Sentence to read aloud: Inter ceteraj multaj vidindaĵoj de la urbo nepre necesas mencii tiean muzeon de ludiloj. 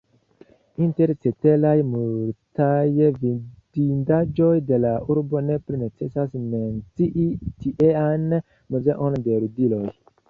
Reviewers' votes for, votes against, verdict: 1, 2, rejected